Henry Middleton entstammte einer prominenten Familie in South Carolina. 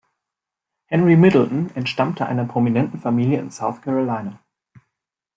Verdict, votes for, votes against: accepted, 2, 0